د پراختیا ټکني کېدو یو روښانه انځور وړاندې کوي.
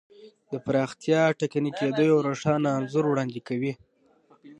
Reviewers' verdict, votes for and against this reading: rejected, 0, 2